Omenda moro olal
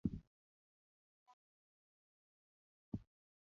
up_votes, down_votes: 0, 2